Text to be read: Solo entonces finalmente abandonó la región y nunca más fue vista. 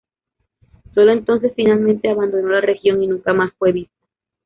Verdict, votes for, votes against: rejected, 1, 2